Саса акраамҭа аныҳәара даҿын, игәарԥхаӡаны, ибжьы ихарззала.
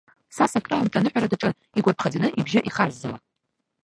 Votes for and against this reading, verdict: 0, 2, rejected